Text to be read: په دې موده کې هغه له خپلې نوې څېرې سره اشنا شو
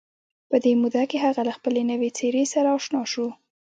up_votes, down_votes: 1, 2